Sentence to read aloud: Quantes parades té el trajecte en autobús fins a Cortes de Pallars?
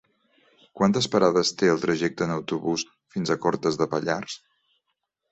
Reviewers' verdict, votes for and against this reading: accepted, 2, 0